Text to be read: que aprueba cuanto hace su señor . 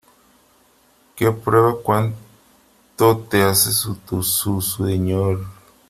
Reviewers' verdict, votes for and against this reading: rejected, 0, 3